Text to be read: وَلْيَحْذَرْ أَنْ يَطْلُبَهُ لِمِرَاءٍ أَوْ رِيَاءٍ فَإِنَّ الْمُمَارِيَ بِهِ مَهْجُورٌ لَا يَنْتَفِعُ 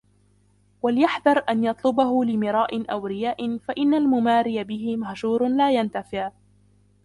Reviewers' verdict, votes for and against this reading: accepted, 2, 1